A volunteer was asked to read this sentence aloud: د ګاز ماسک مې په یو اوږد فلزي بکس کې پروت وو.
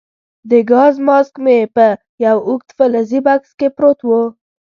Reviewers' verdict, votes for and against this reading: accepted, 2, 0